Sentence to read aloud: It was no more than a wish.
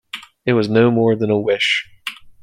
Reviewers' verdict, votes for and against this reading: accepted, 2, 0